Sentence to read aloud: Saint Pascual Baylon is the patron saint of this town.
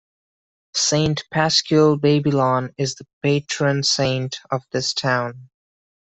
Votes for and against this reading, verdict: 0, 2, rejected